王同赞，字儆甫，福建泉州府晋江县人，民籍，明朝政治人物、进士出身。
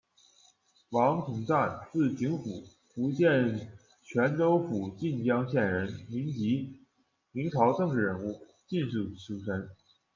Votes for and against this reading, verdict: 2, 0, accepted